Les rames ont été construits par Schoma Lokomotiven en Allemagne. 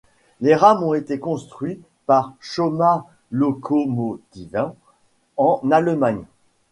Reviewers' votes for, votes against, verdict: 1, 2, rejected